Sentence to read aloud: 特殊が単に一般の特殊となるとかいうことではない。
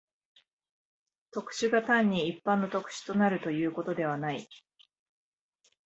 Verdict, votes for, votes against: rejected, 2, 3